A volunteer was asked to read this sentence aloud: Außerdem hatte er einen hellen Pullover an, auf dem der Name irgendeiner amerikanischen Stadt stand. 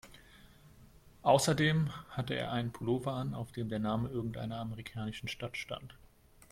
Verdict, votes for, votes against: rejected, 0, 2